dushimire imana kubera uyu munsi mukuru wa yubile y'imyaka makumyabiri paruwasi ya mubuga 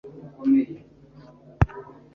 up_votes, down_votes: 1, 2